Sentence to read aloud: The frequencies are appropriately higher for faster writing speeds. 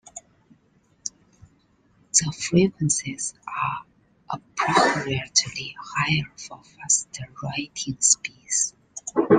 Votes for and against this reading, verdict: 1, 2, rejected